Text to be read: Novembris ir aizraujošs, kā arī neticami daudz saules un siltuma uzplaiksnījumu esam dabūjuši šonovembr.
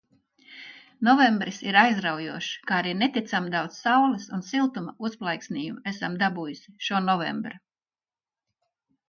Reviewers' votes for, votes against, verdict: 1, 2, rejected